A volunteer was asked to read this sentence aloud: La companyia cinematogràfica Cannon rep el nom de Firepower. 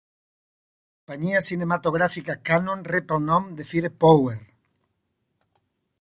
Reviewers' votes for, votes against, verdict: 1, 2, rejected